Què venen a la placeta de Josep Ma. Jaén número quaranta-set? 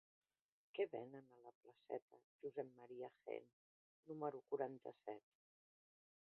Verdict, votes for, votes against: rejected, 0, 2